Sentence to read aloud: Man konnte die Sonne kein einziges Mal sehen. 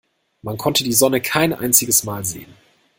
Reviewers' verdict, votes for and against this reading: accepted, 2, 0